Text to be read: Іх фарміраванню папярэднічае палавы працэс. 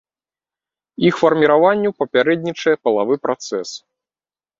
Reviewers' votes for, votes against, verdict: 3, 0, accepted